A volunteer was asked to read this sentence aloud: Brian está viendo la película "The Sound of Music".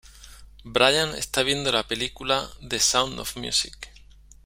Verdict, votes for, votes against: accepted, 2, 0